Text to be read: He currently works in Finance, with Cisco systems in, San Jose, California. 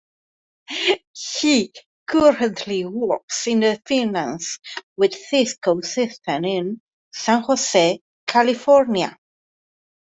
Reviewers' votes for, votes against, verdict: 2, 0, accepted